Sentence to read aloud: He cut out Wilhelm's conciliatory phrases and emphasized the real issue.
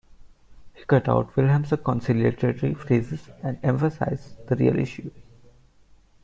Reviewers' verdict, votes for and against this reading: rejected, 0, 2